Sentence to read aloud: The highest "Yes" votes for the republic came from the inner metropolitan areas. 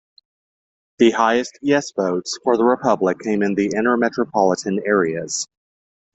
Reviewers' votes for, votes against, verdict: 2, 0, accepted